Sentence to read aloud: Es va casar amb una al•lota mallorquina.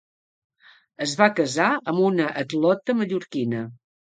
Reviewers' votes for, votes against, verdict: 1, 2, rejected